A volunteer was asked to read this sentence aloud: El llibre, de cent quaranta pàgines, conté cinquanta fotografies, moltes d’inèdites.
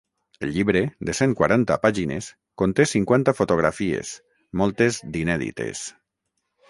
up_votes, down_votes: 6, 0